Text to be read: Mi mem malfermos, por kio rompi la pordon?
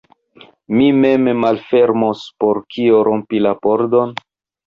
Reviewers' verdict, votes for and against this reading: accepted, 2, 1